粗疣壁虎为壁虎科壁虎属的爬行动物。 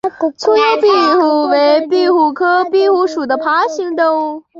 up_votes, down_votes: 0, 2